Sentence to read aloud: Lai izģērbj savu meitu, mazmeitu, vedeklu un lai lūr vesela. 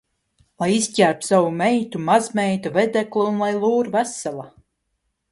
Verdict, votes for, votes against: accepted, 2, 0